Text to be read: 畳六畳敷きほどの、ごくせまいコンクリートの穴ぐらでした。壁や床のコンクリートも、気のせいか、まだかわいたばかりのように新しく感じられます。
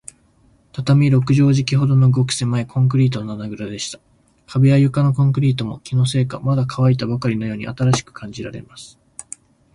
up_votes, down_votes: 23, 2